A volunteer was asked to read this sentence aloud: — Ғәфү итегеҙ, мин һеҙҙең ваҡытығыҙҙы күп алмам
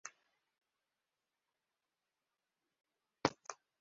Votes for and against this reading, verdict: 0, 2, rejected